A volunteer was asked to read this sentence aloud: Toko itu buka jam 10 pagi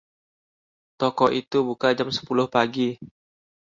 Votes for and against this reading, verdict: 0, 2, rejected